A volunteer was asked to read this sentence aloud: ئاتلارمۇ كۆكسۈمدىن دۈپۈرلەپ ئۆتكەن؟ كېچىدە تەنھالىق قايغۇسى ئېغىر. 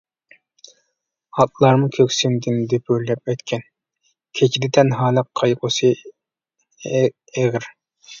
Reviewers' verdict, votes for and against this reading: rejected, 0, 2